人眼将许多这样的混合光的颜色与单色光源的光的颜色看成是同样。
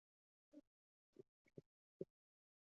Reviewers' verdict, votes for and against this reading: rejected, 0, 5